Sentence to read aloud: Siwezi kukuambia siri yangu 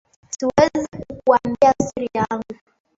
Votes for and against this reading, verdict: 0, 2, rejected